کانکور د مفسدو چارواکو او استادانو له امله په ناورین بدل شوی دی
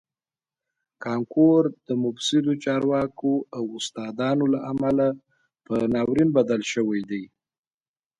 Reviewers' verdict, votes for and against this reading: accepted, 2, 0